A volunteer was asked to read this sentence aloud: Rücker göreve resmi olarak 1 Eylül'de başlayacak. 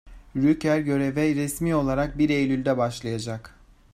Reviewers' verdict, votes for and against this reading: rejected, 0, 2